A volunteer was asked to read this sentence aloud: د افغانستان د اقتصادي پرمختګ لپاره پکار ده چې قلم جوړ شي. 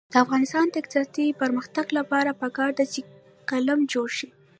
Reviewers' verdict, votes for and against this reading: rejected, 1, 2